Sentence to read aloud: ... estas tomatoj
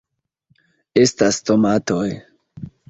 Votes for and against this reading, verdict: 1, 2, rejected